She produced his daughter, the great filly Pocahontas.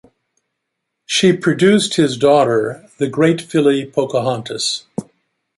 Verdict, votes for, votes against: accepted, 2, 0